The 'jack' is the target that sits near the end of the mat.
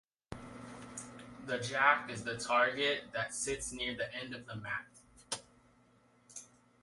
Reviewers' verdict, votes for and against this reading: accepted, 2, 0